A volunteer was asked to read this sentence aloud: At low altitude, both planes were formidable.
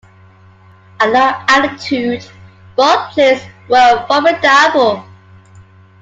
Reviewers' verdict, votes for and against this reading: rejected, 0, 2